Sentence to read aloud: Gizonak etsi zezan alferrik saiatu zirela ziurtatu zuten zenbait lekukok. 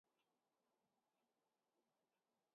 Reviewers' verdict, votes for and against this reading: rejected, 0, 4